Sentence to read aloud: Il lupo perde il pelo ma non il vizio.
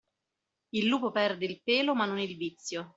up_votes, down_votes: 2, 0